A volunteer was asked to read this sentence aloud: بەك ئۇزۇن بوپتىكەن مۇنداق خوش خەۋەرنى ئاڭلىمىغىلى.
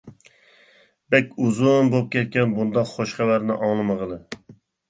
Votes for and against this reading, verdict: 0, 2, rejected